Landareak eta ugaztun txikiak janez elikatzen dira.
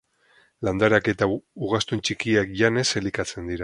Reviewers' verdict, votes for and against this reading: rejected, 2, 4